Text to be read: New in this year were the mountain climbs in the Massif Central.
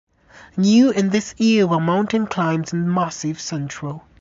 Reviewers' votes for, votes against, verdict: 0, 2, rejected